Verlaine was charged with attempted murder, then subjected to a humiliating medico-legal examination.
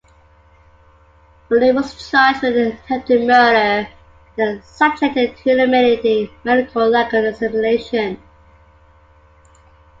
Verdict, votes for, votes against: rejected, 0, 2